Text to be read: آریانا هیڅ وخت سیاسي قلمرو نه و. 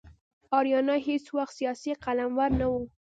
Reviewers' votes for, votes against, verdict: 0, 2, rejected